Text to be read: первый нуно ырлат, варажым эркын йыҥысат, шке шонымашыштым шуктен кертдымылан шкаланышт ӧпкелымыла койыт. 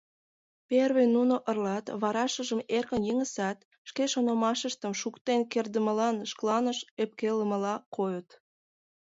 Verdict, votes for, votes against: rejected, 2, 3